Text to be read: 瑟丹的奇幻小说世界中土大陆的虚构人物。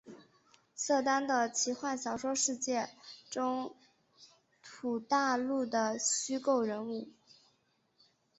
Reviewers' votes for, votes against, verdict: 2, 0, accepted